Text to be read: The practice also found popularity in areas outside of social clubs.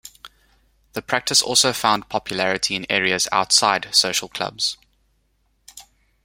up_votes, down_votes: 2, 1